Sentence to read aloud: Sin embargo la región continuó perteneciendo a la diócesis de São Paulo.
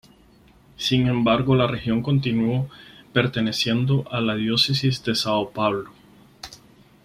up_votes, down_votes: 6, 0